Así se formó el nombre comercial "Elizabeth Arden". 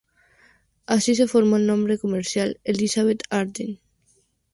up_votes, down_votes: 2, 0